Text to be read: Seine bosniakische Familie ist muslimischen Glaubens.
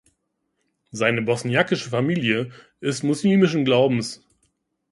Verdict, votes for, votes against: accepted, 2, 0